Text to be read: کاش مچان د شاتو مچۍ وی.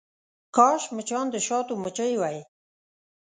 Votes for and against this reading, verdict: 2, 0, accepted